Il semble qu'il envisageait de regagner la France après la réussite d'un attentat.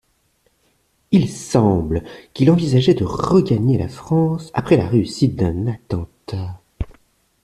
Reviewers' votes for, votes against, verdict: 2, 0, accepted